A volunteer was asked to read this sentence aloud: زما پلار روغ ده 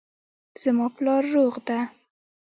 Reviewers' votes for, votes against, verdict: 1, 2, rejected